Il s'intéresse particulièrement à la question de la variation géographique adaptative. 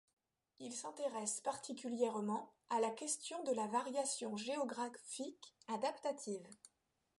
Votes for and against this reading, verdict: 1, 2, rejected